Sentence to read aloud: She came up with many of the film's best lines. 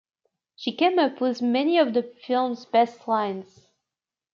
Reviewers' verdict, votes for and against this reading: accepted, 2, 0